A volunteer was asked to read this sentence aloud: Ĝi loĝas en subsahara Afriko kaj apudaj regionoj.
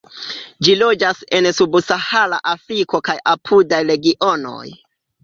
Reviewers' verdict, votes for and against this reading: accepted, 2, 0